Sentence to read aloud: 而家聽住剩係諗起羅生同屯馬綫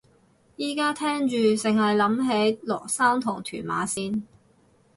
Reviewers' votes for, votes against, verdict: 2, 4, rejected